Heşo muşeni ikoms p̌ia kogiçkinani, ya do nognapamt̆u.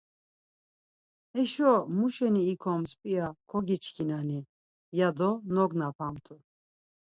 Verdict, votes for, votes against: accepted, 4, 0